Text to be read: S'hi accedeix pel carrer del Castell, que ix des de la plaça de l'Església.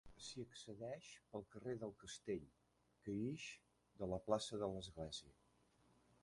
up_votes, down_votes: 1, 3